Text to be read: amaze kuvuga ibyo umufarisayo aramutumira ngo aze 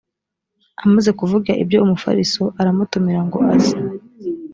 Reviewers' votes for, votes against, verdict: 0, 2, rejected